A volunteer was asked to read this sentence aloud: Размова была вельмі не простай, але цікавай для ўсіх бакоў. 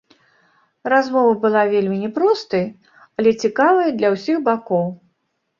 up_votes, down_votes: 1, 2